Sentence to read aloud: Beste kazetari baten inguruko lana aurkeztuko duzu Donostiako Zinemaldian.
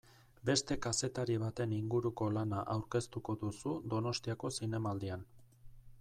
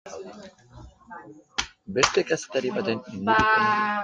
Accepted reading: first